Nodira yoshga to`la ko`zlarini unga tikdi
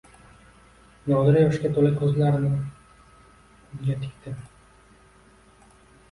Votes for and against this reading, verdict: 2, 0, accepted